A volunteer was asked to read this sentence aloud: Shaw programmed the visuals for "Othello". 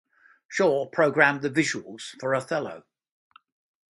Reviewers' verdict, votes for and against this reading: accepted, 2, 0